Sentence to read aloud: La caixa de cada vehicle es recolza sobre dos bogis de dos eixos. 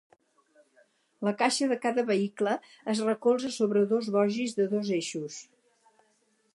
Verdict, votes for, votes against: accepted, 4, 0